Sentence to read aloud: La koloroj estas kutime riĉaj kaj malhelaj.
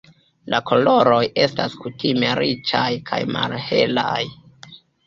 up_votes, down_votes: 3, 1